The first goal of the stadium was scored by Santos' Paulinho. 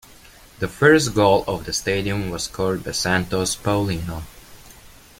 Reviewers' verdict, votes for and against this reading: accepted, 2, 0